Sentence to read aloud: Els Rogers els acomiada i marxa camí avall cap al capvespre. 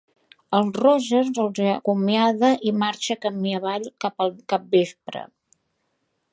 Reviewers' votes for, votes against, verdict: 1, 2, rejected